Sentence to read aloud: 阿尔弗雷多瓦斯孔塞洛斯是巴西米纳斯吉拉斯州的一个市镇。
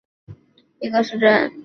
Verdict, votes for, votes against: accepted, 2, 1